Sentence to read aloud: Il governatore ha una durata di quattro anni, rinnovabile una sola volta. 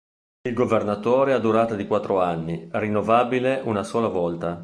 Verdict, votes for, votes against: rejected, 1, 2